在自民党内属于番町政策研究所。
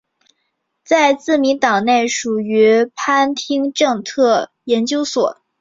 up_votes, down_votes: 4, 0